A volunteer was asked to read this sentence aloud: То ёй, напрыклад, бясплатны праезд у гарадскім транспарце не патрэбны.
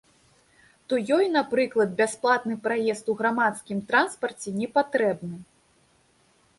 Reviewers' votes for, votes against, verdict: 2, 0, accepted